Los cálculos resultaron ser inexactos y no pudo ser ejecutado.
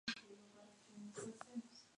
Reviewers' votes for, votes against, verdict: 0, 2, rejected